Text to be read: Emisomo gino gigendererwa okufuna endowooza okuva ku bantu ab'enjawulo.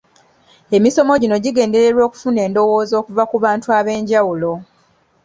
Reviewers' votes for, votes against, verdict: 2, 0, accepted